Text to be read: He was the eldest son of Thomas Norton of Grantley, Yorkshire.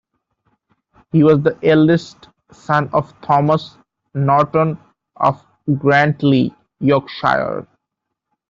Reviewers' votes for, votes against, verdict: 1, 2, rejected